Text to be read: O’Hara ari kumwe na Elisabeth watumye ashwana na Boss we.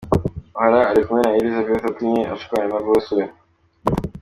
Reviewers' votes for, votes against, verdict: 1, 2, rejected